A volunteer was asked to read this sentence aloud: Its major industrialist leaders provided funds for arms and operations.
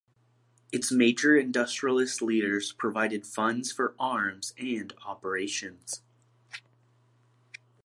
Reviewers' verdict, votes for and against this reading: accepted, 2, 1